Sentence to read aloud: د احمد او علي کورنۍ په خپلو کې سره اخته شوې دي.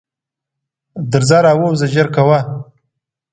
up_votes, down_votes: 1, 2